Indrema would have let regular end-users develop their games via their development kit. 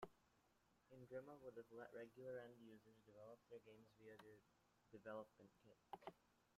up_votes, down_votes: 0, 2